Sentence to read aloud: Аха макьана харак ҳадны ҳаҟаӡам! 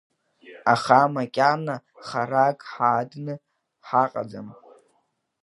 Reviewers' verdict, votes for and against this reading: accepted, 2, 0